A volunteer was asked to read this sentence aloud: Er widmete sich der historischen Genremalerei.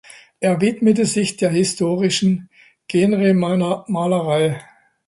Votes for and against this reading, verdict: 0, 2, rejected